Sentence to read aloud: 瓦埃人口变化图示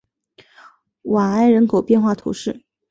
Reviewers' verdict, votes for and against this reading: accepted, 2, 0